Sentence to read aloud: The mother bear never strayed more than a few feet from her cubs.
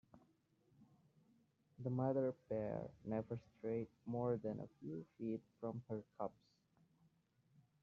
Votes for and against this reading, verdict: 0, 2, rejected